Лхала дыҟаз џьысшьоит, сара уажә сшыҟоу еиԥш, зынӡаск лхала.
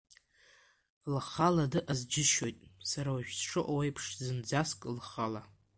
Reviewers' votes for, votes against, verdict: 2, 0, accepted